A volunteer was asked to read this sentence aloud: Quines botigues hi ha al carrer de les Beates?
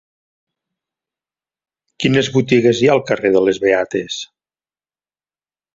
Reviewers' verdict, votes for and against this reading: accepted, 2, 0